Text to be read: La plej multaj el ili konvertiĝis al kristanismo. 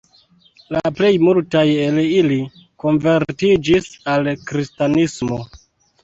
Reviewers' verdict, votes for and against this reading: accepted, 2, 0